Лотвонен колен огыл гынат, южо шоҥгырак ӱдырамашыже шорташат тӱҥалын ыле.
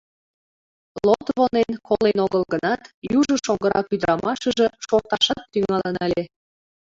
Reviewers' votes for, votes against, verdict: 0, 2, rejected